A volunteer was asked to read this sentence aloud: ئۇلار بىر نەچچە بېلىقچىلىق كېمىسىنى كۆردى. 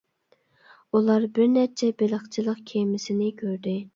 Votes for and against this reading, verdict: 2, 0, accepted